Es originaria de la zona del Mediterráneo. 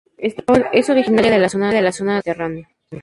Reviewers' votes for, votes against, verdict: 0, 2, rejected